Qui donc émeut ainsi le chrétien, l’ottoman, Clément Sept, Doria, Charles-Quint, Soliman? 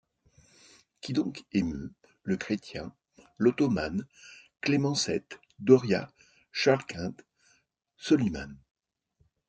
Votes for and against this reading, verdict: 0, 2, rejected